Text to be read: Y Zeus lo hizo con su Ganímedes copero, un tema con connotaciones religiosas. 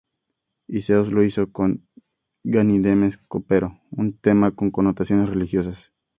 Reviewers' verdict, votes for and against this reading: rejected, 0, 4